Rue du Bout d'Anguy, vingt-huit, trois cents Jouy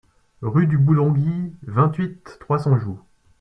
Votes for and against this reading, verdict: 0, 2, rejected